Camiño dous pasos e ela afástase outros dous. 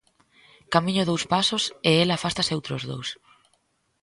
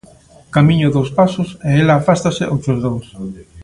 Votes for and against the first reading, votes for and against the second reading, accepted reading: 2, 0, 1, 2, first